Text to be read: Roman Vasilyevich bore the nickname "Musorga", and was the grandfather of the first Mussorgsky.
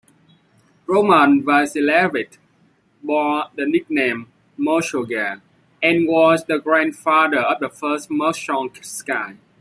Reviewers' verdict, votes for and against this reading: rejected, 1, 2